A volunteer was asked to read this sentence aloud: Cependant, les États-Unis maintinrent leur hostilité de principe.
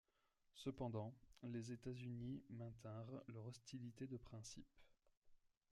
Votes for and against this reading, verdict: 2, 1, accepted